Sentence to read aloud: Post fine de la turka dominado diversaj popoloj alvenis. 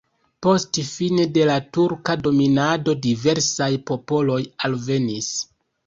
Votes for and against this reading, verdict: 2, 0, accepted